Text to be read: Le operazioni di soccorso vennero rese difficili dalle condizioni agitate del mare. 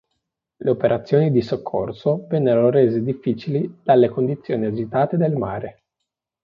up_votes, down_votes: 2, 0